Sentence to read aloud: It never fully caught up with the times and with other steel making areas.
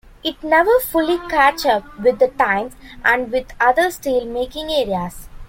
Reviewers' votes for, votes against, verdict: 1, 2, rejected